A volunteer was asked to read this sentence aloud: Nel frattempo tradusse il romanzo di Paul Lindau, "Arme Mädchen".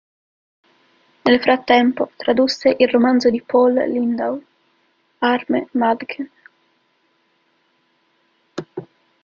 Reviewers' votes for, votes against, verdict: 0, 2, rejected